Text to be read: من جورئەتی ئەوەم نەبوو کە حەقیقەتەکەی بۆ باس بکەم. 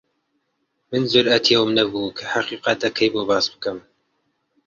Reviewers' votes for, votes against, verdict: 2, 0, accepted